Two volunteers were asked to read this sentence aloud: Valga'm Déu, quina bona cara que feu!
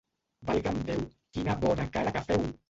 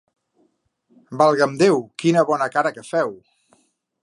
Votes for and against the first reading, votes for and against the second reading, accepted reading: 0, 2, 2, 0, second